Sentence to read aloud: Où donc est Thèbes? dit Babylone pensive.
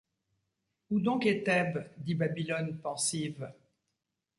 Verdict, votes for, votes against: accepted, 2, 0